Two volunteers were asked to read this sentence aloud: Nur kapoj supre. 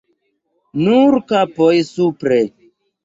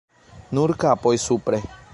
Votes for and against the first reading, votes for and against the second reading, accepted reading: 1, 2, 2, 1, second